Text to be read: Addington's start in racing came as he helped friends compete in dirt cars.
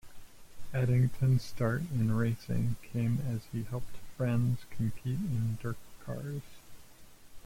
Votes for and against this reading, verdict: 0, 2, rejected